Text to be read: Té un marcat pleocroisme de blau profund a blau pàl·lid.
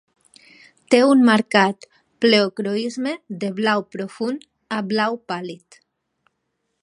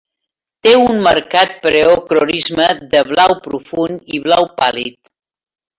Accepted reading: first